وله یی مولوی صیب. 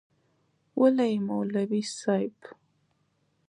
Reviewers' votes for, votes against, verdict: 3, 0, accepted